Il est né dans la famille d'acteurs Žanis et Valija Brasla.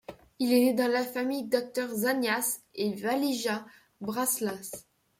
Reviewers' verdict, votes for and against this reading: rejected, 1, 2